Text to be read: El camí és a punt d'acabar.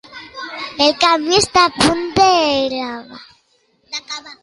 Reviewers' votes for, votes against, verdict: 0, 2, rejected